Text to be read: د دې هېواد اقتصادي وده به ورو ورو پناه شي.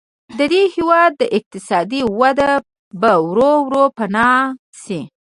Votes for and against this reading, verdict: 1, 2, rejected